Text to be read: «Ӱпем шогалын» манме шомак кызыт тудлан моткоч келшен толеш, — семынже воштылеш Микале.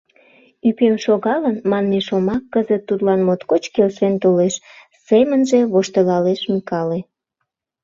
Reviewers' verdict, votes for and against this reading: rejected, 0, 2